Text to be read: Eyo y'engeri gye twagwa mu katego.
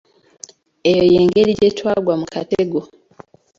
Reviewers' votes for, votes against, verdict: 1, 2, rejected